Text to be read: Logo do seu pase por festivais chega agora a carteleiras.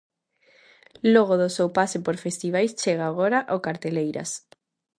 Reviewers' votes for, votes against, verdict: 0, 2, rejected